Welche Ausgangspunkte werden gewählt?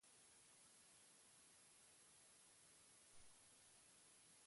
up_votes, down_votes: 0, 4